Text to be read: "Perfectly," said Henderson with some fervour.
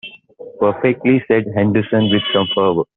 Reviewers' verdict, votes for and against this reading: rejected, 0, 2